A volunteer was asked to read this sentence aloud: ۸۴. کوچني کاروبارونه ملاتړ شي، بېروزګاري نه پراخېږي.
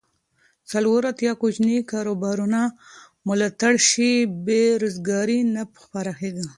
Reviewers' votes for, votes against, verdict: 0, 2, rejected